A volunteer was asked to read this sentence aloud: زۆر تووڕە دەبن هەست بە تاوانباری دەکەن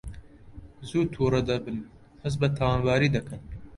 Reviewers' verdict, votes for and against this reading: rejected, 1, 2